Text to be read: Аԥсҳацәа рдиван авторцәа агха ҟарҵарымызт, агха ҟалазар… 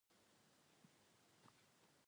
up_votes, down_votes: 1, 2